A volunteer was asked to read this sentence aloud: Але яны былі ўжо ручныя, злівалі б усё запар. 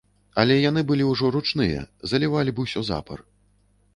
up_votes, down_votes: 0, 2